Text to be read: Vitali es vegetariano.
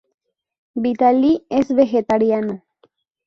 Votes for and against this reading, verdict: 2, 2, rejected